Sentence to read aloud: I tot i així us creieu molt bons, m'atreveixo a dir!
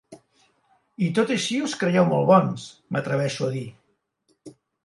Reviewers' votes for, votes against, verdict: 3, 0, accepted